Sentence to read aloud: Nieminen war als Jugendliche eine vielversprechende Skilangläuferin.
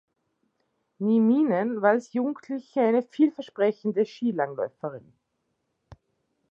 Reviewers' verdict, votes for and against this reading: accepted, 2, 0